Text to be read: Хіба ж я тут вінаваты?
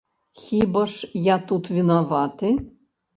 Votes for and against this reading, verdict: 0, 2, rejected